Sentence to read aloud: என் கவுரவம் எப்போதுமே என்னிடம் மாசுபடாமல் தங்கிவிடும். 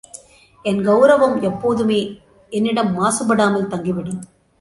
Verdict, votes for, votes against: accepted, 2, 0